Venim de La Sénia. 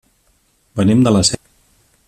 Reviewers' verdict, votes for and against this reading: rejected, 0, 2